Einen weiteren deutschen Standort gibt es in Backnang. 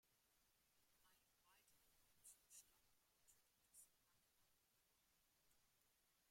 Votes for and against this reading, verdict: 0, 2, rejected